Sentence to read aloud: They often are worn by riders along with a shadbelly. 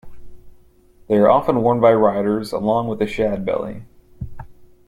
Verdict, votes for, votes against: rejected, 0, 2